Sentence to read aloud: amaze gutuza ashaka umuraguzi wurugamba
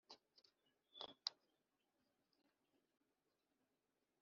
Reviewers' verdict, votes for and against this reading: accepted, 2, 0